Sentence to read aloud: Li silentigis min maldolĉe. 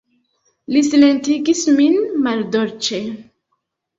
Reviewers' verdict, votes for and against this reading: rejected, 1, 2